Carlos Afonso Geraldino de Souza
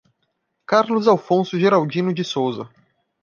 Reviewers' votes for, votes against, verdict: 2, 0, accepted